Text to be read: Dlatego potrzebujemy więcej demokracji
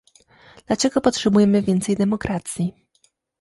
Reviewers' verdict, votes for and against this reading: rejected, 1, 2